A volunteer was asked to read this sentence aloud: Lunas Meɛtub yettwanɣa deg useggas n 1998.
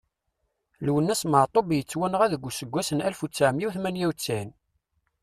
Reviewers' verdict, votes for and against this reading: rejected, 0, 2